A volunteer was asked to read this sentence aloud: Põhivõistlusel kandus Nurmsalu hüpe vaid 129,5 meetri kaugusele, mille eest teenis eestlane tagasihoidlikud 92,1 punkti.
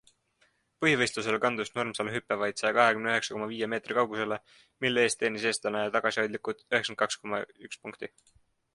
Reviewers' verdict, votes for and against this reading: rejected, 0, 2